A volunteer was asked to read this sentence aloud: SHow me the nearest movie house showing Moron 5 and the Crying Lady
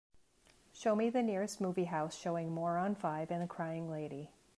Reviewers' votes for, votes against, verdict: 0, 2, rejected